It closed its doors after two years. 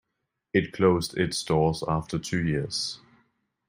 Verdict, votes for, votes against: accepted, 2, 0